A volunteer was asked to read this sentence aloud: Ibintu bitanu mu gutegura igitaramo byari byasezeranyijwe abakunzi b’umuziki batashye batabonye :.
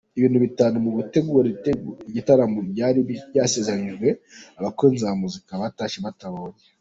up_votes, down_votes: 1, 2